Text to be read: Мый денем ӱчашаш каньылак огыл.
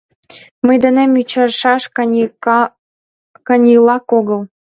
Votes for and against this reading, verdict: 1, 2, rejected